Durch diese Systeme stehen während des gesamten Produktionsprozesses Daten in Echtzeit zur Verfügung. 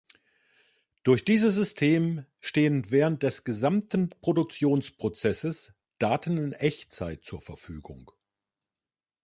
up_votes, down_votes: 0, 2